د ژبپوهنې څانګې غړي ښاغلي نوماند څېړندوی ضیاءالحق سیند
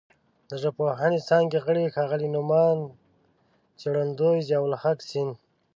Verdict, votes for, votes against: accepted, 2, 0